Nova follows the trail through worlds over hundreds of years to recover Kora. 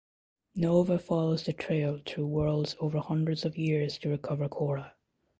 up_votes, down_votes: 1, 2